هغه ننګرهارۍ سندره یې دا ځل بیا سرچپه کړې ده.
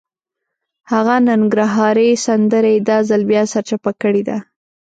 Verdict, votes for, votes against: rejected, 1, 2